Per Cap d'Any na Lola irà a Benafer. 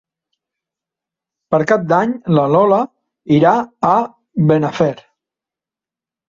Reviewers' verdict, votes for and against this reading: accepted, 3, 0